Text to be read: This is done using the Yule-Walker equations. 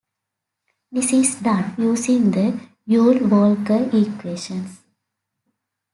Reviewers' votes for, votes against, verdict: 1, 2, rejected